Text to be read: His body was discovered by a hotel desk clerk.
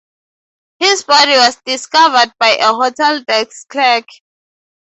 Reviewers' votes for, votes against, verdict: 2, 2, rejected